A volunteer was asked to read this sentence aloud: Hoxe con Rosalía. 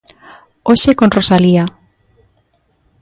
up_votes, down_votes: 2, 0